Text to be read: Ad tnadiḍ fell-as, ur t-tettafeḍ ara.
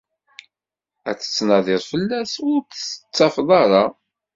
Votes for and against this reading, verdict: 1, 2, rejected